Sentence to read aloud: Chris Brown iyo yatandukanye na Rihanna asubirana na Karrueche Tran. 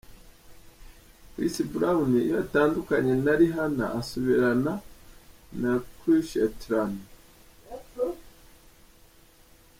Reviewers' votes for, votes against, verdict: 2, 0, accepted